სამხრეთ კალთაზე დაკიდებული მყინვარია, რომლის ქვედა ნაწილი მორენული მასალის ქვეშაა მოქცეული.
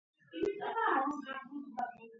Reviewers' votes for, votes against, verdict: 0, 2, rejected